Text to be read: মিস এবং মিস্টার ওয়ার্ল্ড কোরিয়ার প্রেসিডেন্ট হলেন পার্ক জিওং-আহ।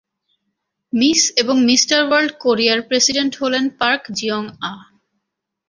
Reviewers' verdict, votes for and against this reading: accepted, 2, 0